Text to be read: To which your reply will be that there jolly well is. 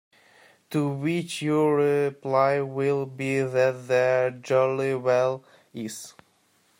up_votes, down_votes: 1, 2